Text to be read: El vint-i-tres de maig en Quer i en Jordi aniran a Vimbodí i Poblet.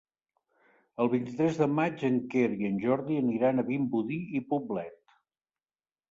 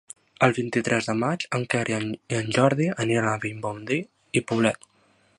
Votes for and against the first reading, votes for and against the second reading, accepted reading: 3, 0, 1, 2, first